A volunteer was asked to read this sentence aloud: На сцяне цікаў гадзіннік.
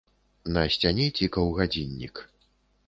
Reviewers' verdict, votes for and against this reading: accepted, 2, 0